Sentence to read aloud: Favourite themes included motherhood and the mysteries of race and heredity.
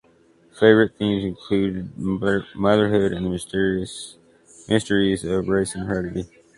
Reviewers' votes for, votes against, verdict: 0, 2, rejected